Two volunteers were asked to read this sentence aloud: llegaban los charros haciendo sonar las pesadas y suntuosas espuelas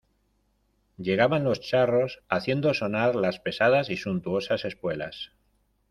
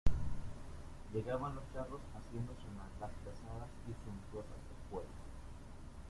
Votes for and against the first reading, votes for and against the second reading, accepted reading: 2, 0, 1, 2, first